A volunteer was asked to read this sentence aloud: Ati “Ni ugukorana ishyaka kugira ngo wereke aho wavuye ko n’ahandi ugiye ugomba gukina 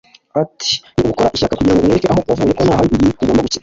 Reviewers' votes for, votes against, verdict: 0, 2, rejected